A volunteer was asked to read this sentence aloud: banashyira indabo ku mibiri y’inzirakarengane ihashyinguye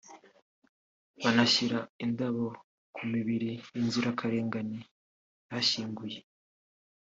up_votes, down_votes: 3, 0